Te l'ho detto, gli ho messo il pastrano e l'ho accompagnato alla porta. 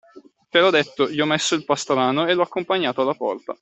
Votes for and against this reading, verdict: 2, 0, accepted